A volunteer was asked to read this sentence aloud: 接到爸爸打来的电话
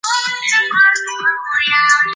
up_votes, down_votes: 0, 2